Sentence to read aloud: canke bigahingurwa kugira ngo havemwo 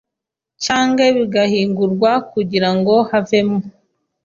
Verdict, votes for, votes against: accepted, 2, 0